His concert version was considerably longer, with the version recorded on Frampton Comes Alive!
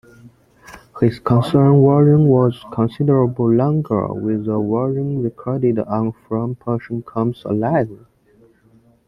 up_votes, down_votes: 2, 1